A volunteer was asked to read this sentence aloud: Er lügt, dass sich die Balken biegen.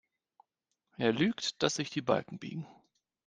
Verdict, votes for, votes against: accepted, 2, 0